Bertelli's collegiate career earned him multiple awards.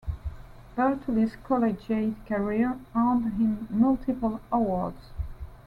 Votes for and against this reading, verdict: 2, 3, rejected